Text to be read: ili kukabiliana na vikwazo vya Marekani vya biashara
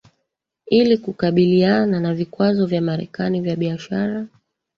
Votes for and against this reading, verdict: 2, 1, accepted